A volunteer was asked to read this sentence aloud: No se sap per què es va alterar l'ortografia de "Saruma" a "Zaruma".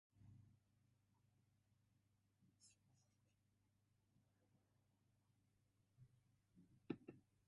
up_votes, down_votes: 0, 2